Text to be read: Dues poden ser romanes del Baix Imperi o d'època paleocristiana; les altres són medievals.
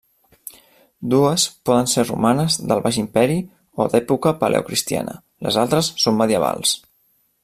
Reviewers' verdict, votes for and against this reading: accepted, 2, 0